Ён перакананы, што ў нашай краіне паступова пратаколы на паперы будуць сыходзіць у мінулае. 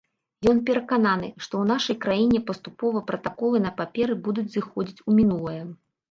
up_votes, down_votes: 0, 2